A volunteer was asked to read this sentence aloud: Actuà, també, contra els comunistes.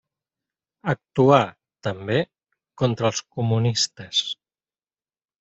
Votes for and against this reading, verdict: 3, 0, accepted